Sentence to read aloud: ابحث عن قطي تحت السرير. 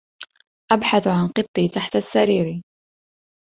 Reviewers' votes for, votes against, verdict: 2, 0, accepted